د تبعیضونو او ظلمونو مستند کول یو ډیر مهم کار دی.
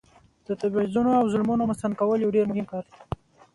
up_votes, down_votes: 2, 0